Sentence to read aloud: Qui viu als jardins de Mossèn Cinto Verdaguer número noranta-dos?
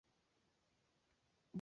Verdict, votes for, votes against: rejected, 0, 2